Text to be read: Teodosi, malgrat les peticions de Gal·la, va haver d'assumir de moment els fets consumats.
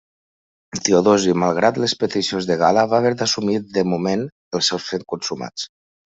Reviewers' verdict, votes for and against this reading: rejected, 0, 2